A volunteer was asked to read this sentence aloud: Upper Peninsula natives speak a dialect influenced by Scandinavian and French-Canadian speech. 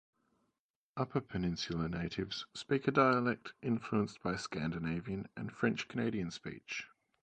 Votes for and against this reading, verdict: 0, 2, rejected